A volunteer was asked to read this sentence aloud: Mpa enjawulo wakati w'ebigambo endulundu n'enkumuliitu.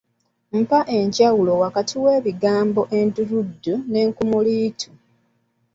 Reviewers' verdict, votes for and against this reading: rejected, 0, 2